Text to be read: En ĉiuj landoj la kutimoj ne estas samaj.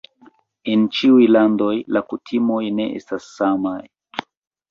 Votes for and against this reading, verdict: 3, 2, accepted